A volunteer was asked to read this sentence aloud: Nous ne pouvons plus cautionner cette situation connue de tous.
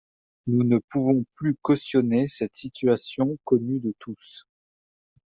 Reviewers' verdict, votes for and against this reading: accepted, 2, 0